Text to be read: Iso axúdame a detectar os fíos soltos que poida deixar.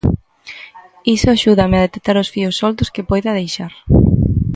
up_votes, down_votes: 2, 0